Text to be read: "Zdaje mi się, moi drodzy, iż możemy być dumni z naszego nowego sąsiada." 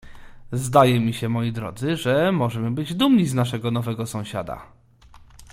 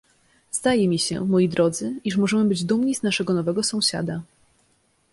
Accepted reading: second